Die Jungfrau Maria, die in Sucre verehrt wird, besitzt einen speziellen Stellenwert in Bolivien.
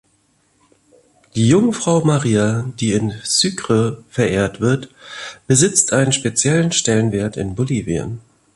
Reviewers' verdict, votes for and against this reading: accepted, 2, 0